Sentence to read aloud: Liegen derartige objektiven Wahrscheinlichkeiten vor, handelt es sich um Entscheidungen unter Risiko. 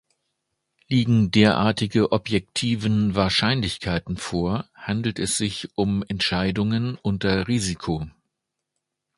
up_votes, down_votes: 2, 0